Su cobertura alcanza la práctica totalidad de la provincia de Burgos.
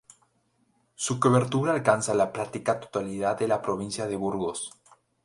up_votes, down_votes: 2, 0